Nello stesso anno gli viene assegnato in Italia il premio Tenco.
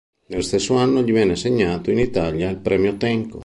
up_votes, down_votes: 2, 0